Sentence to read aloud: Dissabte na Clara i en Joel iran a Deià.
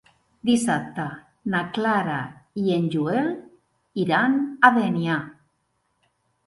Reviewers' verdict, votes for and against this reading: rejected, 0, 2